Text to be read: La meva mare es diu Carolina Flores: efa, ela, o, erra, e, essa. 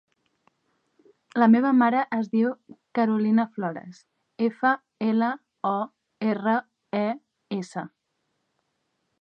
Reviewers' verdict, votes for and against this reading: accepted, 2, 0